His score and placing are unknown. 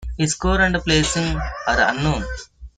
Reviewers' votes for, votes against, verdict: 0, 2, rejected